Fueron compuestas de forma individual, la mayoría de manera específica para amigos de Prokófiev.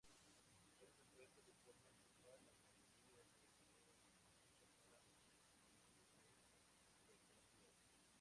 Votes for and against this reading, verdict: 0, 2, rejected